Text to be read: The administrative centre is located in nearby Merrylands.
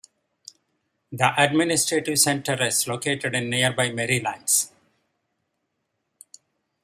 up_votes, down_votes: 2, 1